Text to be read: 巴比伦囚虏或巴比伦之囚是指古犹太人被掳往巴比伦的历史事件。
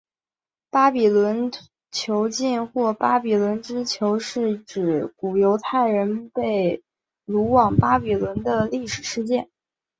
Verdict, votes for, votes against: rejected, 2, 3